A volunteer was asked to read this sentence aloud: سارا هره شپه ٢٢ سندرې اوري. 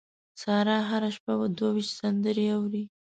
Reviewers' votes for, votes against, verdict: 0, 2, rejected